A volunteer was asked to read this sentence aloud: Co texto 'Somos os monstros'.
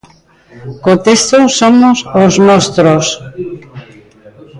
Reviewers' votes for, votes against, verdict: 1, 2, rejected